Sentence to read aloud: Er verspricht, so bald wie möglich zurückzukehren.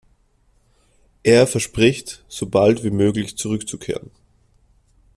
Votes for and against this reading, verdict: 2, 1, accepted